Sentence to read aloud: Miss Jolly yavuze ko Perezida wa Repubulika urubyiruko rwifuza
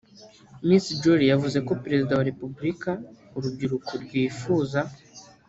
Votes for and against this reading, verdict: 0, 2, rejected